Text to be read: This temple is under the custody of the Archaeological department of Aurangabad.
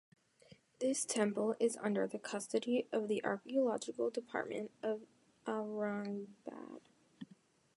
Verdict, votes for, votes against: rejected, 0, 2